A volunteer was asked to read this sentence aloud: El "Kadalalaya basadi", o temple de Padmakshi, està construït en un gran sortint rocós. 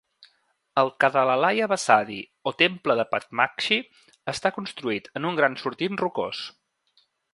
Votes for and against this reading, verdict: 2, 0, accepted